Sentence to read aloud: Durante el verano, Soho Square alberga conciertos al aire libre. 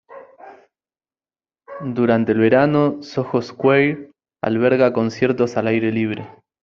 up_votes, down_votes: 2, 0